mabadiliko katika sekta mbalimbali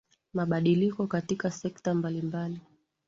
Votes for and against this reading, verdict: 2, 0, accepted